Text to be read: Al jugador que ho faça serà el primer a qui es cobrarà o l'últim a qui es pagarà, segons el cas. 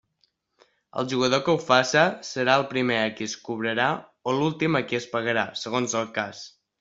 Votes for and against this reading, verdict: 2, 0, accepted